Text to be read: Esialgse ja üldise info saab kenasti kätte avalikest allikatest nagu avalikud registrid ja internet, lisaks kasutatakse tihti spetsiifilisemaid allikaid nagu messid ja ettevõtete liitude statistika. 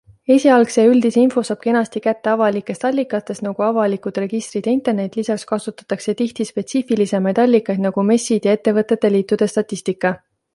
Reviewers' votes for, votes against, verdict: 2, 0, accepted